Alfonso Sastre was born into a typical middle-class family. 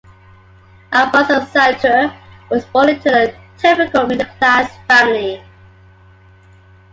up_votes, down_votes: 1, 2